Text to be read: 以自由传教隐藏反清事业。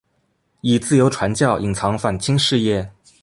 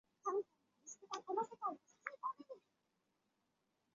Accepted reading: first